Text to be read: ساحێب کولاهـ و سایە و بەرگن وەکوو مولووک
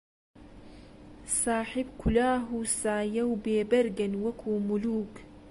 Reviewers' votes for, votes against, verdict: 0, 2, rejected